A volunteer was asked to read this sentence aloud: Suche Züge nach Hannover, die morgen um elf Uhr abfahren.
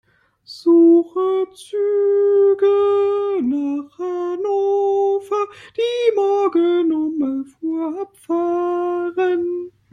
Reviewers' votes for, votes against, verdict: 0, 2, rejected